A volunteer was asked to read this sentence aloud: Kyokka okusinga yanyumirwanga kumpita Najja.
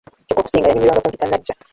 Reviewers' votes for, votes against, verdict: 0, 2, rejected